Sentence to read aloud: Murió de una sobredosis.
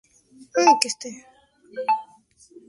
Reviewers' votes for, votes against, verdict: 0, 2, rejected